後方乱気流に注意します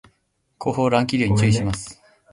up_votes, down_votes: 2, 0